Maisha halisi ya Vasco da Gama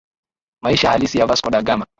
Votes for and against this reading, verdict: 0, 2, rejected